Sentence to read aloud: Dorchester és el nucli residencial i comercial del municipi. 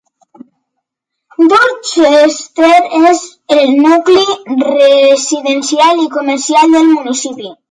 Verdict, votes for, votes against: rejected, 1, 2